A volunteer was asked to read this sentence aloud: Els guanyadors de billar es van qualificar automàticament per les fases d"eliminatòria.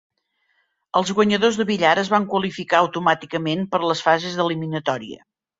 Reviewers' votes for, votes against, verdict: 2, 0, accepted